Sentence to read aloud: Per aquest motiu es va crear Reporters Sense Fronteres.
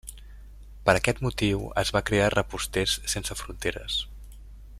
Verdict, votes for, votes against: rejected, 0, 2